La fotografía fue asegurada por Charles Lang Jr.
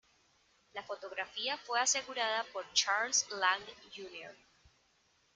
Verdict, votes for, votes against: rejected, 1, 2